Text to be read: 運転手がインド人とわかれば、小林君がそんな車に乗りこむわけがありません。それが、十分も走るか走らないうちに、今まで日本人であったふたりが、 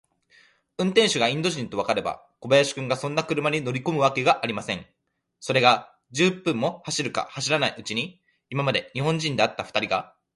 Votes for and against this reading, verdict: 2, 0, accepted